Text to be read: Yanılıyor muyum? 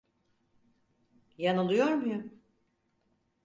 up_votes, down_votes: 4, 0